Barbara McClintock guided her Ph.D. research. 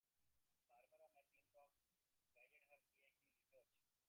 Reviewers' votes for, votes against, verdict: 0, 2, rejected